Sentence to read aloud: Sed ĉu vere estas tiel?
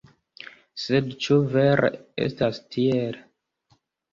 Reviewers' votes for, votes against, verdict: 2, 0, accepted